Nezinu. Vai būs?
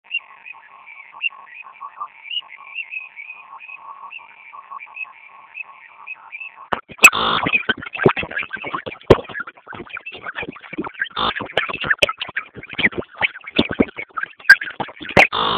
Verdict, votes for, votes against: rejected, 0, 2